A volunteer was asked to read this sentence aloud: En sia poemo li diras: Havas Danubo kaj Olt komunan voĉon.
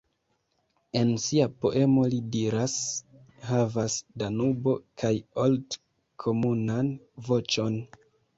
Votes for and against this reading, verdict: 2, 0, accepted